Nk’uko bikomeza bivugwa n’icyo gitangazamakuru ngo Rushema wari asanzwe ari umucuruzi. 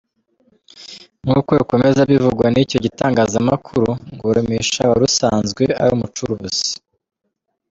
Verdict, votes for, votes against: rejected, 0, 2